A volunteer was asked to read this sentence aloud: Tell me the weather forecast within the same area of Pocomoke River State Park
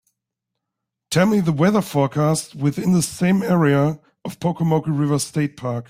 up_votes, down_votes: 2, 1